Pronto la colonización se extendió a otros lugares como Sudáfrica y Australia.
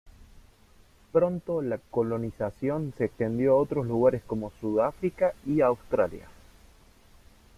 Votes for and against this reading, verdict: 2, 1, accepted